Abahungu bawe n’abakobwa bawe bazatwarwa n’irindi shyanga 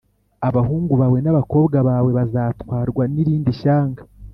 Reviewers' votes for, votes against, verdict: 3, 0, accepted